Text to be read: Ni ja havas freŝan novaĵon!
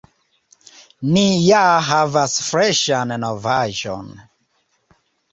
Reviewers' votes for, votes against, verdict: 2, 0, accepted